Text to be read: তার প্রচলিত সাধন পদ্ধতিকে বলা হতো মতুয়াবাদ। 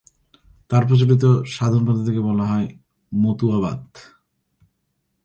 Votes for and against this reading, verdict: 0, 2, rejected